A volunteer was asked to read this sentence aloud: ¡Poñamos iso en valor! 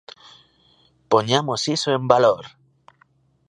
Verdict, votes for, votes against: rejected, 1, 2